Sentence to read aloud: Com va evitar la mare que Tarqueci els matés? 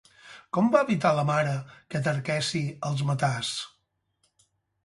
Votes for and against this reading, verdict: 2, 4, rejected